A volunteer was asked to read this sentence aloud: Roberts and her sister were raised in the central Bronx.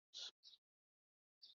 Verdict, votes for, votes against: rejected, 0, 2